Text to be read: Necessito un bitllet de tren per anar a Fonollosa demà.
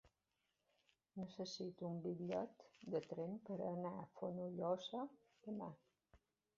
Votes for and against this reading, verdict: 2, 1, accepted